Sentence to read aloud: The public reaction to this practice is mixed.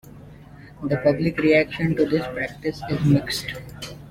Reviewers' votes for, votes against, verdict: 2, 0, accepted